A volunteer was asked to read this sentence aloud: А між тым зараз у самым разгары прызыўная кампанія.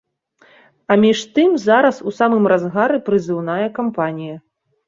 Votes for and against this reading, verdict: 2, 0, accepted